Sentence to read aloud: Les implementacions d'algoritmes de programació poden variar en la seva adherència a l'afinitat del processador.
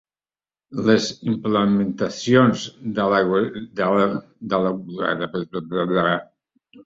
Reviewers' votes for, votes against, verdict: 0, 2, rejected